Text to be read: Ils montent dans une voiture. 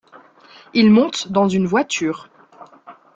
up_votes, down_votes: 2, 0